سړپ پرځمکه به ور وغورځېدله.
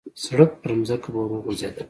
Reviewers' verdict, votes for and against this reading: accepted, 2, 0